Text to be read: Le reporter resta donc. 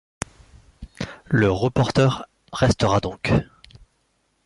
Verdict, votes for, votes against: rejected, 1, 2